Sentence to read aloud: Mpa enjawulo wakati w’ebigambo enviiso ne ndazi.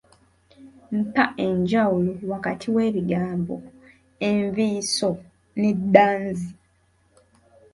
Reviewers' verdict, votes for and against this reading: rejected, 1, 2